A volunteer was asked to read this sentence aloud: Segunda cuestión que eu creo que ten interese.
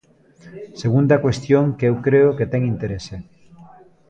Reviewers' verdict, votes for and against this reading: accepted, 2, 0